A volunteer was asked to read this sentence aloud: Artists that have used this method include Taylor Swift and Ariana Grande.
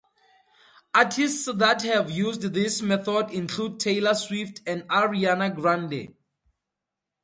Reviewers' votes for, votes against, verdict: 0, 2, rejected